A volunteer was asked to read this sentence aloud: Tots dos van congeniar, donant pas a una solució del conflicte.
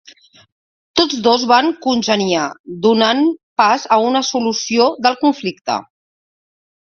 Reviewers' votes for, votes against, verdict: 2, 0, accepted